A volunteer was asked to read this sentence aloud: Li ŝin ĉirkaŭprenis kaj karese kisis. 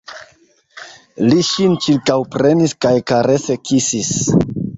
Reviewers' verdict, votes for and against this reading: accepted, 2, 0